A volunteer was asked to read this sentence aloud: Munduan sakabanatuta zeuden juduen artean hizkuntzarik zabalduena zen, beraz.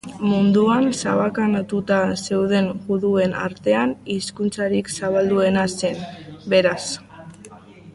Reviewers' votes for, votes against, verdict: 1, 2, rejected